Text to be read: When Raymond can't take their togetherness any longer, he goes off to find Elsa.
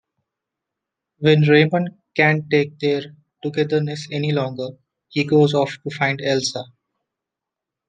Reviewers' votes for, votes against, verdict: 2, 0, accepted